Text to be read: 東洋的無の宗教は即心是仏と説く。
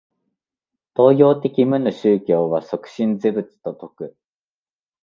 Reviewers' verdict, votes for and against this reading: accepted, 2, 0